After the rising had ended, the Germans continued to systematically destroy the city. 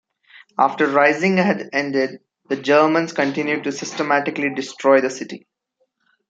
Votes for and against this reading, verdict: 1, 2, rejected